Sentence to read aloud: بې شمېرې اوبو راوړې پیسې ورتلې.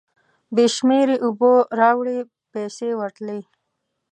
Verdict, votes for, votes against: rejected, 1, 2